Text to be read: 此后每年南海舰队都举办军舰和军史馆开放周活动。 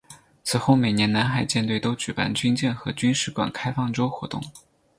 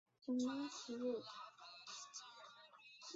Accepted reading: first